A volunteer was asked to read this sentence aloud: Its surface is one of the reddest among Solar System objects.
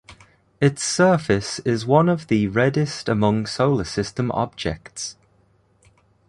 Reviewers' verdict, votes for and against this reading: accepted, 2, 1